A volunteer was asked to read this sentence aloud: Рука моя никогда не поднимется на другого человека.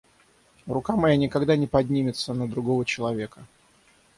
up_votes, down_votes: 6, 0